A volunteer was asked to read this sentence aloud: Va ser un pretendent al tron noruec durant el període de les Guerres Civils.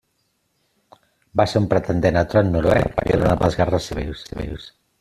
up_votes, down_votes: 0, 2